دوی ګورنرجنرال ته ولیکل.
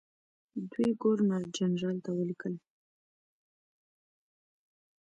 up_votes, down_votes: 0, 2